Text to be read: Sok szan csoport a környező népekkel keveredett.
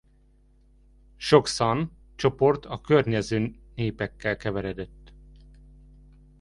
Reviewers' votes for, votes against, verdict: 0, 2, rejected